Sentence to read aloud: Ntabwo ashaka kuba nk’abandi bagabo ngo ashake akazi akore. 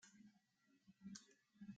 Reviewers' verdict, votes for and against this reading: rejected, 0, 2